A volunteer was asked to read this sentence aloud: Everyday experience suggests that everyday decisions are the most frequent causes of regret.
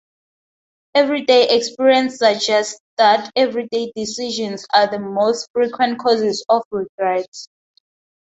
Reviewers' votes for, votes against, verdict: 2, 2, rejected